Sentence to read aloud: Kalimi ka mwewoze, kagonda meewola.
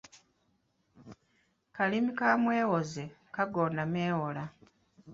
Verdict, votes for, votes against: accepted, 2, 1